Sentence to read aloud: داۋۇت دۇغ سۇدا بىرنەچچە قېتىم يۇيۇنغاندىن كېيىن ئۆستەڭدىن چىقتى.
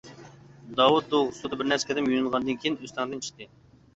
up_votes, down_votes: 0, 2